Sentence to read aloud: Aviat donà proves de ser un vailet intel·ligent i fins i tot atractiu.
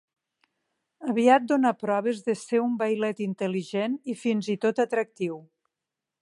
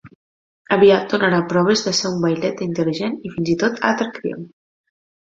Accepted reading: first